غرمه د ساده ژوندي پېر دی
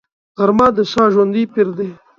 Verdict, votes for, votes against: accepted, 2, 0